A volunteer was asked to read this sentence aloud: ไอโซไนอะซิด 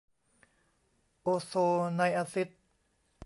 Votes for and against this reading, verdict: 1, 2, rejected